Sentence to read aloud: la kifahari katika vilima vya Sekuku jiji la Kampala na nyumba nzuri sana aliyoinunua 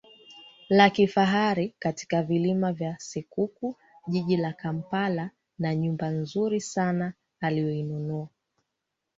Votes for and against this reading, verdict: 2, 1, accepted